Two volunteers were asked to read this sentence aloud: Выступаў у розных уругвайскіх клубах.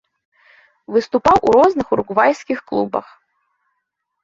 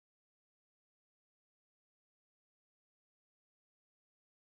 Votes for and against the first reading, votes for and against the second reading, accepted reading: 2, 0, 0, 2, first